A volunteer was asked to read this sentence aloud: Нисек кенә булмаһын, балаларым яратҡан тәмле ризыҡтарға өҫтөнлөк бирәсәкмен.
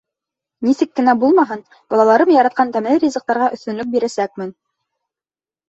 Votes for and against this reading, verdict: 2, 0, accepted